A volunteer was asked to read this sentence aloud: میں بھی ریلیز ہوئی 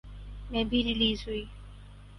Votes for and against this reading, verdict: 6, 0, accepted